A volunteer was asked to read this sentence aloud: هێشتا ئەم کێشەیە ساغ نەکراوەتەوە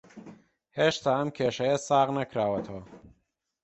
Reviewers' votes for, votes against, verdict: 2, 1, accepted